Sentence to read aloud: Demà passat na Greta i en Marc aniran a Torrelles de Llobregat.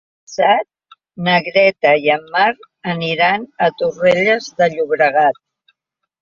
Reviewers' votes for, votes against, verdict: 0, 2, rejected